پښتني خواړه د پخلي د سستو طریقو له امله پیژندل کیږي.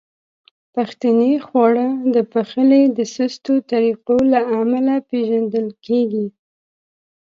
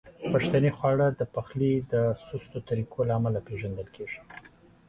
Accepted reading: second